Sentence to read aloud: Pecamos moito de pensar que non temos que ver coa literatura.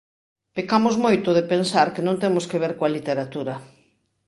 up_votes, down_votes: 7, 0